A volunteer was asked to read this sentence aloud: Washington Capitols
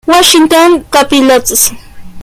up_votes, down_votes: 0, 2